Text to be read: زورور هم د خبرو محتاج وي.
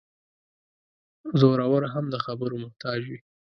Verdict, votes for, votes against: accepted, 2, 0